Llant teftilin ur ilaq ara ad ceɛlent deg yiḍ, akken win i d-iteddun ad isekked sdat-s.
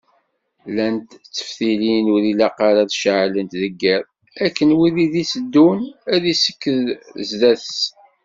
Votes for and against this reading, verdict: 1, 2, rejected